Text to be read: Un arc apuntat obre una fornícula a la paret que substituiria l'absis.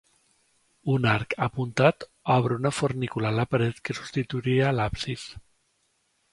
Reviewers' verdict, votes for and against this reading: accepted, 2, 0